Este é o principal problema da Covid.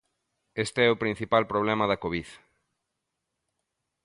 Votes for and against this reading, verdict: 2, 0, accepted